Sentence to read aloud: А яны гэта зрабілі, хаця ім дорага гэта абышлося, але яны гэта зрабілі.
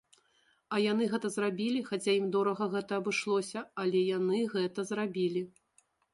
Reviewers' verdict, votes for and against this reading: accepted, 2, 0